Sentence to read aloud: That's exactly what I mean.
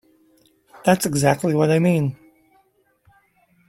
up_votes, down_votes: 2, 1